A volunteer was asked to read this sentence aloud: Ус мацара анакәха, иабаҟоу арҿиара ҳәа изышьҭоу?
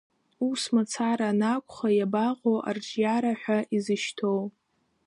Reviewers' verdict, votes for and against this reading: accepted, 2, 0